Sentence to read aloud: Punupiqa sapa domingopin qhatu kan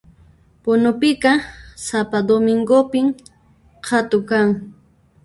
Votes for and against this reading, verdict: 1, 2, rejected